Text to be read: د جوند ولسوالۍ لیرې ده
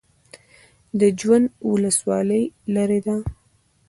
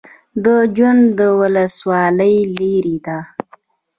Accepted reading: first